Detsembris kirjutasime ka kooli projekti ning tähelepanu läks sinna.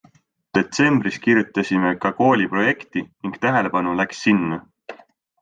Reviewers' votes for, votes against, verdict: 2, 0, accepted